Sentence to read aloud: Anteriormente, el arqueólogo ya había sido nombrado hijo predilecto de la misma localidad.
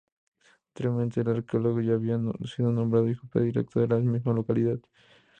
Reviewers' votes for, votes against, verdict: 0, 4, rejected